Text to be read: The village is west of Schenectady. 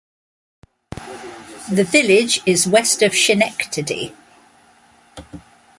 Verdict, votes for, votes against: rejected, 1, 2